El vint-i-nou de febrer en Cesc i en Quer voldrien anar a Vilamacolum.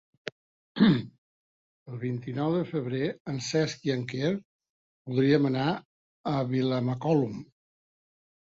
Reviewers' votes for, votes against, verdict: 1, 2, rejected